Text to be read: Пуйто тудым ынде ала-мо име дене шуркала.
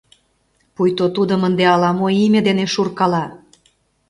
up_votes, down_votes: 2, 0